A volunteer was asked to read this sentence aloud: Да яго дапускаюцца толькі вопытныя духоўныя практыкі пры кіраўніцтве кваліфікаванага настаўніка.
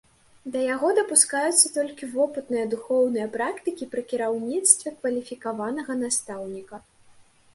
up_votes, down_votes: 2, 0